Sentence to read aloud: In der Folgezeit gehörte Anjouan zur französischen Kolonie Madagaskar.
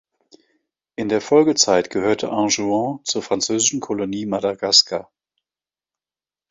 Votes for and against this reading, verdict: 2, 0, accepted